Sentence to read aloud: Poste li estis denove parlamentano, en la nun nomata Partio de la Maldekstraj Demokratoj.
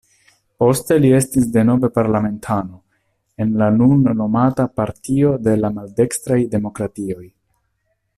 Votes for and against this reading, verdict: 1, 3, rejected